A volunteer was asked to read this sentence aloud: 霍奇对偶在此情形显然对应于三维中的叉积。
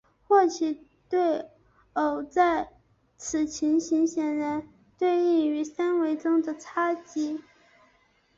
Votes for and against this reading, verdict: 2, 1, accepted